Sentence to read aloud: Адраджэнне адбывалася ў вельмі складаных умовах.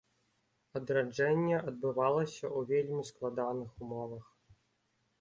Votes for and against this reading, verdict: 3, 0, accepted